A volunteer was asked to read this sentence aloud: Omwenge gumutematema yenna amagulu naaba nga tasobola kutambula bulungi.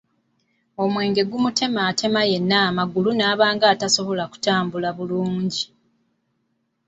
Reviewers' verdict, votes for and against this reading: accepted, 2, 0